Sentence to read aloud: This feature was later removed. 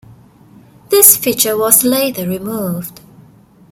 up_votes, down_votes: 3, 1